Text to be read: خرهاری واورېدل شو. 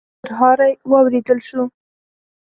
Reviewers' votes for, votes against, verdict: 1, 2, rejected